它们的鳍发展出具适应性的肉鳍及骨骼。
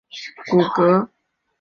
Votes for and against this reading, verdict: 1, 2, rejected